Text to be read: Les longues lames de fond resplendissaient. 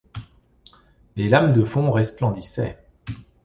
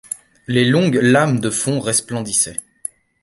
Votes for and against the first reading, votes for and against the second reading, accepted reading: 1, 2, 2, 0, second